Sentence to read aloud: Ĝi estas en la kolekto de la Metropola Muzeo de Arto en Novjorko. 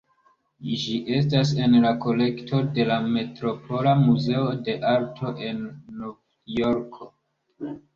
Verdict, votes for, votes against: accepted, 2, 0